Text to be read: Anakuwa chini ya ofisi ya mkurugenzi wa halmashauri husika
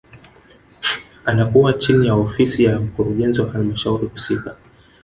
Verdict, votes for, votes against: rejected, 1, 2